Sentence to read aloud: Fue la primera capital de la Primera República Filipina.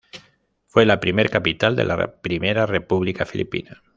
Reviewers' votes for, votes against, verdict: 0, 2, rejected